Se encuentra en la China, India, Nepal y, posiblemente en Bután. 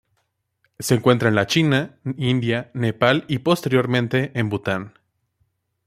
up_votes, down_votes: 1, 2